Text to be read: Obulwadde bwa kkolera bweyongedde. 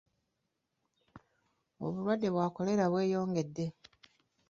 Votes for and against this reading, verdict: 1, 2, rejected